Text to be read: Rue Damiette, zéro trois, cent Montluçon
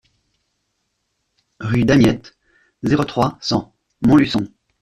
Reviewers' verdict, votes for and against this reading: rejected, 0, 2